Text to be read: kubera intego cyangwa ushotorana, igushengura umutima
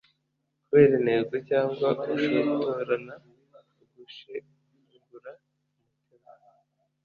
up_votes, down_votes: 1, 2